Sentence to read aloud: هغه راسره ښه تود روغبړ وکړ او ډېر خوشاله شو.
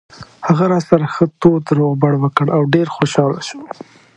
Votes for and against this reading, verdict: 2, 0, accepted